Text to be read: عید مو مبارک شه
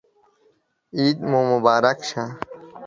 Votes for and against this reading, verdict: 2, 0, accepted